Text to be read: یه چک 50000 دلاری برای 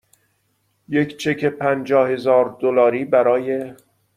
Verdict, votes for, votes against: rejected, 0, 2